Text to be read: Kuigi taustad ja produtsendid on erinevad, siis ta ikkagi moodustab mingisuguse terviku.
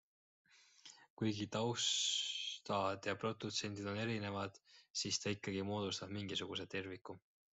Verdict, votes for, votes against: rejected, 1, 3